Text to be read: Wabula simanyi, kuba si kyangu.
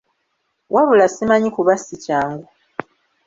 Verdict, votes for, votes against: accepted, 2, 0